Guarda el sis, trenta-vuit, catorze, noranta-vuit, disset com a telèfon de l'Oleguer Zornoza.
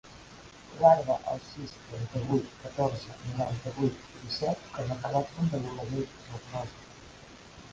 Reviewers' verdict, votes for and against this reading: accepted, 2, 1